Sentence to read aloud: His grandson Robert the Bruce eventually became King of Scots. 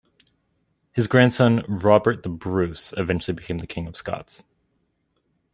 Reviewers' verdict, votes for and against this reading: rejected, 1, 2